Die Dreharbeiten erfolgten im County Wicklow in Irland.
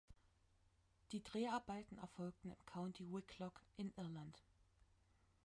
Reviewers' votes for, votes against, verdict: 0, 2, rejected